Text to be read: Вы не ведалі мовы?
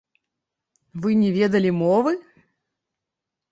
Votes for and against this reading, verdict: 2, 1, accepted